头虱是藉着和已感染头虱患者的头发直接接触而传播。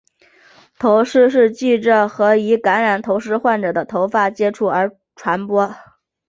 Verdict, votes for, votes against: accepted, 2, 1